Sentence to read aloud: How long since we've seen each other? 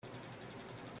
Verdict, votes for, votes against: rejected, 0, 3